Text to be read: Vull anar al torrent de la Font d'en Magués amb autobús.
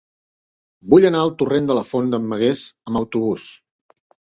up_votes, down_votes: 3, 0